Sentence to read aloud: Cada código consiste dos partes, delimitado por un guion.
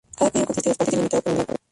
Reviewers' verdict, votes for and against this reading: rejected, 0, 2